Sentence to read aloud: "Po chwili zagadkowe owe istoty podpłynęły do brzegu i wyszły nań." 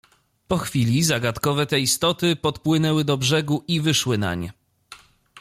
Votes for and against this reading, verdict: 0, 2, rejected